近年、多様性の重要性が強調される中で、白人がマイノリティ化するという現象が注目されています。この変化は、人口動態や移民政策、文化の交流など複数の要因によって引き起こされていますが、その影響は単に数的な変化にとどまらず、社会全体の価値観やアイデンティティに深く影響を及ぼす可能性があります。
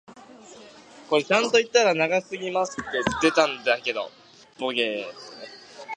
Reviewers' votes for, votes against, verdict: 0, 2, rejected